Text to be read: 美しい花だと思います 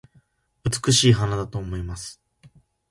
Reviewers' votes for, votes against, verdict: 2, 0, accepted